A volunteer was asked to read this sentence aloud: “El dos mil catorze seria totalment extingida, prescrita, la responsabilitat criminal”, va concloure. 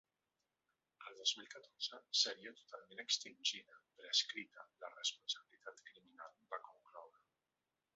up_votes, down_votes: 2, 1